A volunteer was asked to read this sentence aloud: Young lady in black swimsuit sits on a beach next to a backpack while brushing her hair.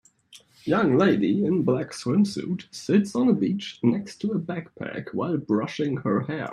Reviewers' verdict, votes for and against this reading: accepted, 2, 1